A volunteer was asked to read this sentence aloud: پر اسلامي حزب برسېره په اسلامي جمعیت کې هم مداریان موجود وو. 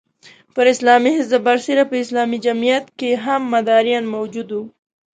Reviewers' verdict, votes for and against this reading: accepted, 2, 0